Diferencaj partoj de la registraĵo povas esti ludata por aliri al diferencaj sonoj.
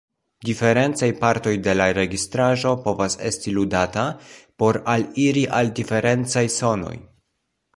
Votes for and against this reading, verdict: 2, 1, accepted